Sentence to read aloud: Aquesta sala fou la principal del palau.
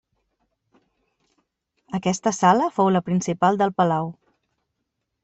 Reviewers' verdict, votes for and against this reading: accepted, 3, 1